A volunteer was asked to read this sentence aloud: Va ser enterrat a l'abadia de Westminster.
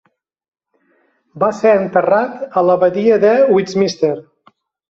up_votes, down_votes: 1, 2